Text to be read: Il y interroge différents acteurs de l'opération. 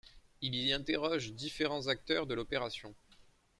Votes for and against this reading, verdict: 2, 0, accepted